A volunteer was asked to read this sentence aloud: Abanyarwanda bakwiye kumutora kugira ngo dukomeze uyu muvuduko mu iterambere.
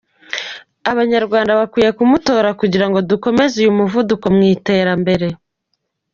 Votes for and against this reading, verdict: 2, 0, accepted